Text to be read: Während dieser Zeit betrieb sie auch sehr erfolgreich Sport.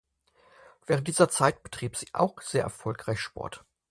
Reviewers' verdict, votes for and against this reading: accepted, 6, 0